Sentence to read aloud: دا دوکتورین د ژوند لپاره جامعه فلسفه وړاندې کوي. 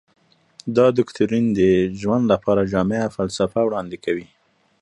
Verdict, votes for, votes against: accepted, 2, 0